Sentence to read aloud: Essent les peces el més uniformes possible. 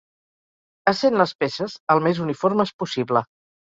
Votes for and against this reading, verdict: 4, 0, accepted